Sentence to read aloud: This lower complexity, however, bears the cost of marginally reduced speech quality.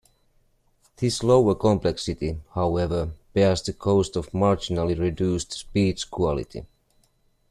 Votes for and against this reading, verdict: 2, 0, accepted